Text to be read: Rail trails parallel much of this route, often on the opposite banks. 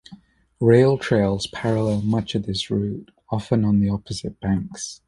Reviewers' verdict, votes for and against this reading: accepted, 2, 0